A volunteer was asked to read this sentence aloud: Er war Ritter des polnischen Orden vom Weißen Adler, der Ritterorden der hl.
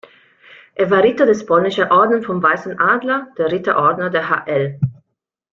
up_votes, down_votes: 0, 2